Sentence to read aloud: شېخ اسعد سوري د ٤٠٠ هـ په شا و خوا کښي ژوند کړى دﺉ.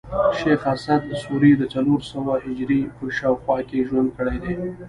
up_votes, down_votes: 0, 2